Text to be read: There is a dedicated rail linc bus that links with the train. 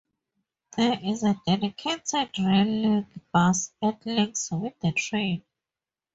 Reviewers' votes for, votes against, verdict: 4, 0, accepted